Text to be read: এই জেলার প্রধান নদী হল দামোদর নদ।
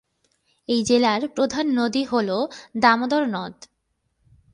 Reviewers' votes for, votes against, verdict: 2, 0, accepted